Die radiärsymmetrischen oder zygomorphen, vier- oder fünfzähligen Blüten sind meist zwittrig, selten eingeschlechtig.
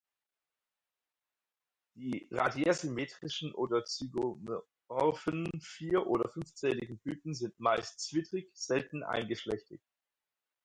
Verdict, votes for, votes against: rejected, 0, 4